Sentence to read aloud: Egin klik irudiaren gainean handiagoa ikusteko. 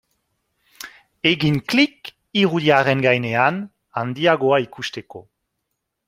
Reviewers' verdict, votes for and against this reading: accepted, 2, 0